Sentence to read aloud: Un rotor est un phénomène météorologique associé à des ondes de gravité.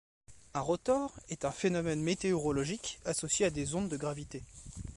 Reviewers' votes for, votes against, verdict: 2, 1, accepted